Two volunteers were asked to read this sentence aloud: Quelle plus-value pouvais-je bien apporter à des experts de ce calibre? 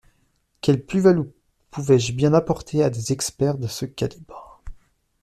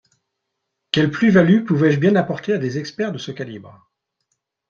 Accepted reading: second